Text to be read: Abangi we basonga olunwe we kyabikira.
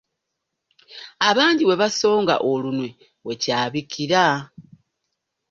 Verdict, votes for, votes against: accepted, 2, 0